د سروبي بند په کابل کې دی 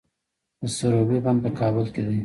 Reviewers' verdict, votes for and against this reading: rejected, 1, 2